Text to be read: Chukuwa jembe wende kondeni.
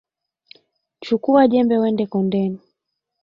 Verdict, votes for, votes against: accepted, 2, 0